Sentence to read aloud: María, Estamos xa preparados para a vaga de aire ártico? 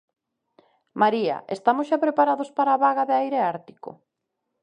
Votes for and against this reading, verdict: 2, 0, accepted